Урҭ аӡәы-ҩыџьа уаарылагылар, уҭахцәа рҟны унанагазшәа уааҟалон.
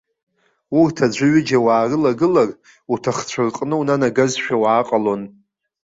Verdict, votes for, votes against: accepted, 2, 0